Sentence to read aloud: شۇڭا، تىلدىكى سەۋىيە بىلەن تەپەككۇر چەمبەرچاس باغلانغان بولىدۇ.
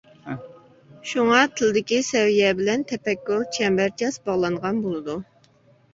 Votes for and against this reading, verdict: 2, 0, accepted